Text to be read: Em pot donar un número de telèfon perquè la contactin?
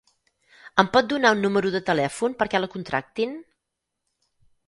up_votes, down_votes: 0, 6